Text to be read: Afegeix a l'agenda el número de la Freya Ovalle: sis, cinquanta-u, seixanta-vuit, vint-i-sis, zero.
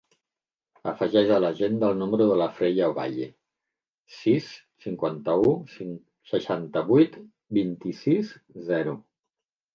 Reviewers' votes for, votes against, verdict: 0, 2, rejected